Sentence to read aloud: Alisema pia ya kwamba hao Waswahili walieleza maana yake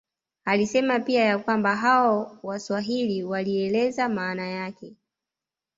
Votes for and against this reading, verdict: 2, 0, accepted